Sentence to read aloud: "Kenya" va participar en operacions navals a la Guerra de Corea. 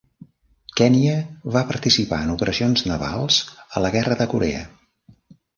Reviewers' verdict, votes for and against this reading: accepted, 2, 0